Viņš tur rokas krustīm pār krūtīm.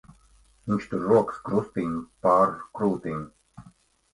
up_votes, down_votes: 1, 2